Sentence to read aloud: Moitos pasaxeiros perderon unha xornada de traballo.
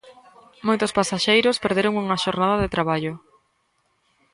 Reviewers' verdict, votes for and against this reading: rejected, 1, 2